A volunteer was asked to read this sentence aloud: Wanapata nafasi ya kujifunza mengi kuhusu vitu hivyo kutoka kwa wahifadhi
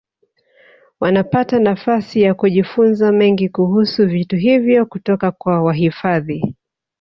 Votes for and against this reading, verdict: 3, 0, accepted